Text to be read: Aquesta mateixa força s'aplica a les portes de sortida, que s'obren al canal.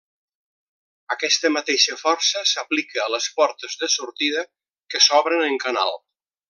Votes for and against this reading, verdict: 0, 2, rejected